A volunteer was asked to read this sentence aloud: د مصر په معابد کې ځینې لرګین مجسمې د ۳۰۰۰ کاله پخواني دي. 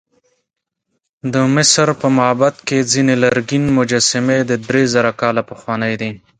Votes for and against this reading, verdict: 0, 2, rejected